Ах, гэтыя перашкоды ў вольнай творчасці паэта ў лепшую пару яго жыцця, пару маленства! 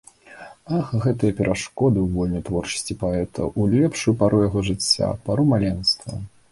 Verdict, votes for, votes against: accepted, 2, 0